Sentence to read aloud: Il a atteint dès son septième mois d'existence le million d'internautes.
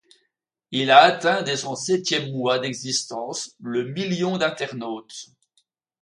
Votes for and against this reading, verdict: 2, 0, accepted